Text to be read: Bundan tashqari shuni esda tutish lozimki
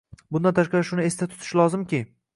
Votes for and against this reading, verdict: 2, 0, accepted